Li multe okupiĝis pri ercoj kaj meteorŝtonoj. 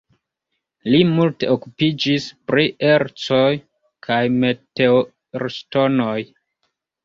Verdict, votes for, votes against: accepted, 2, 0